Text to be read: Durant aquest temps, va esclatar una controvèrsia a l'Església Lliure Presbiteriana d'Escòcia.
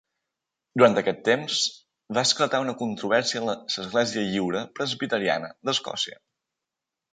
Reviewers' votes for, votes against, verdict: 3, 1, accepted